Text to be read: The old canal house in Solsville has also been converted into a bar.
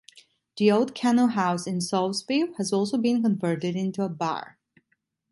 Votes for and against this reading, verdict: 1, 2, rejected